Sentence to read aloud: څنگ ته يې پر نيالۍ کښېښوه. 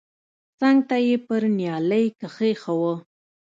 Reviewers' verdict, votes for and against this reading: accepted, 2, 0